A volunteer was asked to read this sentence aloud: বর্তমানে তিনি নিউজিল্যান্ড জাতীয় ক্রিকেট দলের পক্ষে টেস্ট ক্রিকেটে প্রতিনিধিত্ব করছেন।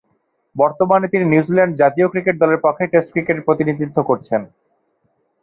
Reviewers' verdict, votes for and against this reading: accepted, 2, 0